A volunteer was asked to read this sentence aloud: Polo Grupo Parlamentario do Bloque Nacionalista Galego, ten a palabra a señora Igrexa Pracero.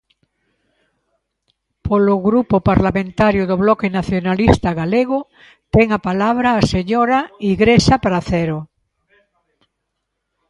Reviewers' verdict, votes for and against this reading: rejected, 1, 2